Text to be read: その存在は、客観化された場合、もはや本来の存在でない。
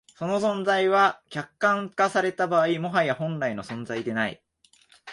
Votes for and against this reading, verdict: 2, 0, accepted